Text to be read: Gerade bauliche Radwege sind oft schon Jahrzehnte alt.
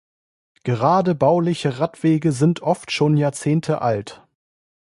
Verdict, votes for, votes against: accepted, 2, 0